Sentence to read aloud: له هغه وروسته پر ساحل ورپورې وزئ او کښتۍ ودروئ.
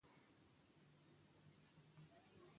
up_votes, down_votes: 2, 0